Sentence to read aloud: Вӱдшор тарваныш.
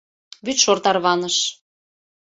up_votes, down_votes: 2, 0